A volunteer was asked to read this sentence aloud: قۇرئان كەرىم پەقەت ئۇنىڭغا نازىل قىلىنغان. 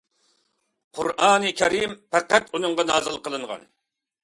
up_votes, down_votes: 2, 0